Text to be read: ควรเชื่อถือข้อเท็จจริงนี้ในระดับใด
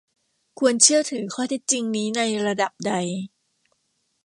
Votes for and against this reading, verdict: 2, 0, accepted